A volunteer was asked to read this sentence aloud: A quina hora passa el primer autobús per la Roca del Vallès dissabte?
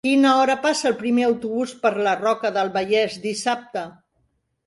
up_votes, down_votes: 0, 2